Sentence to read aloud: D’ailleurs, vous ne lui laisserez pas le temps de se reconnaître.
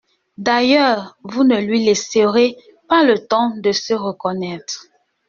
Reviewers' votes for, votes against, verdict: 2, 1, accepted